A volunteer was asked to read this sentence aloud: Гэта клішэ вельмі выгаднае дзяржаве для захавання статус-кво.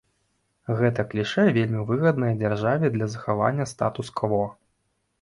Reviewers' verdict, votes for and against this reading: accepted, 2, 0